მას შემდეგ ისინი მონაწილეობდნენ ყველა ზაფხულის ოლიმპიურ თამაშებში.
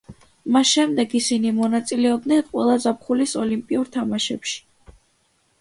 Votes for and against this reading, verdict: 2, 0, accepted